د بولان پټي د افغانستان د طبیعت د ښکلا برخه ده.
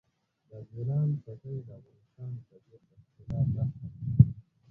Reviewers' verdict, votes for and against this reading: rejected, 0, 2